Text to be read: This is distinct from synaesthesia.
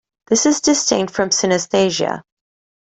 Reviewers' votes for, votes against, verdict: 2, 1, accepted